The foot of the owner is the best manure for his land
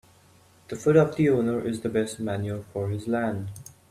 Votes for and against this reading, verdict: 1, 2, rejected